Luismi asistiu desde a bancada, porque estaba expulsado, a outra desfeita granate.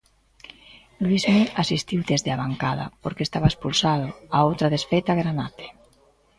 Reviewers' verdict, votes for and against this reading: rejected, 1, 2